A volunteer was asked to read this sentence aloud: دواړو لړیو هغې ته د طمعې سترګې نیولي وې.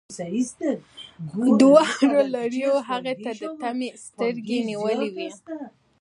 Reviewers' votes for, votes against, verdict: 1, 2, rejected